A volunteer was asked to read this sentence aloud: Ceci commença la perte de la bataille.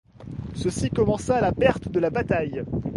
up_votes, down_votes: 2, 0